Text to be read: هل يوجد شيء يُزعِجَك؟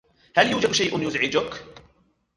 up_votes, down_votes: 0, 2